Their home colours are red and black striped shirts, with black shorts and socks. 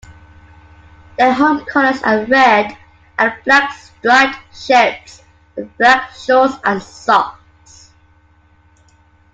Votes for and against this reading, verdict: 1, 2, rejected